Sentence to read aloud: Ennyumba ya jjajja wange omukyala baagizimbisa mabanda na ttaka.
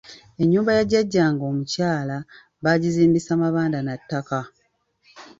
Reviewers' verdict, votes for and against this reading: rejected, 1, 2